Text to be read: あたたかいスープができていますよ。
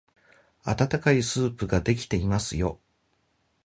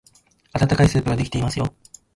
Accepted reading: first